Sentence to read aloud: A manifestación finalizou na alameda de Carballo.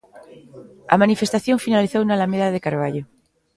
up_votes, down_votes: 2, 0